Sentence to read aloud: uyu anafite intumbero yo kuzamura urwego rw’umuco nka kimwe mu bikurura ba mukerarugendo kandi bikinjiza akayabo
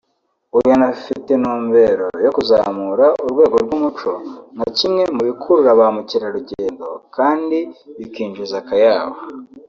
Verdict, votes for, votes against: accepted, 2, 0